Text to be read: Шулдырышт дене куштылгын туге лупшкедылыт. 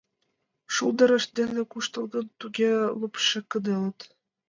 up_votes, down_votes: 1, 2